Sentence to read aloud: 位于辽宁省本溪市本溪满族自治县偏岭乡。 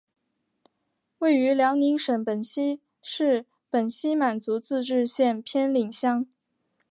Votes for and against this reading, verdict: 1, 2, rejected